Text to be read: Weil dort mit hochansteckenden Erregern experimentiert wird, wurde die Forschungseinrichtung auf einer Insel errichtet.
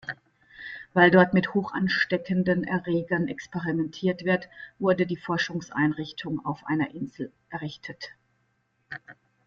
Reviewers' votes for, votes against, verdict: 0, 2, rejected